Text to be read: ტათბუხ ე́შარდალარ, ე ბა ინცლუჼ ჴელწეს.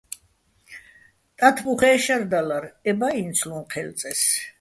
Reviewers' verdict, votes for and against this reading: accepted, 2, 0